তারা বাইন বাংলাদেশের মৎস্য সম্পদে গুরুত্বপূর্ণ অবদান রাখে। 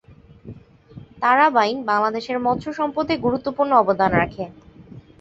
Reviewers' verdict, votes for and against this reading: accepted, 2, 0